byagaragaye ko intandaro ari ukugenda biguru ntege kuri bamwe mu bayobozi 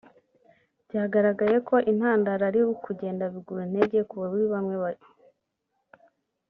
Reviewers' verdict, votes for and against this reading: rejected, 1, 2